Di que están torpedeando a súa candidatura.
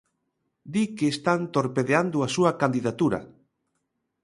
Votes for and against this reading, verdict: 3, 0, accepted